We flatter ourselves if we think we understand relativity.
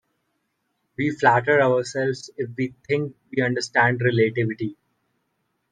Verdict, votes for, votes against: rejected, 2, 3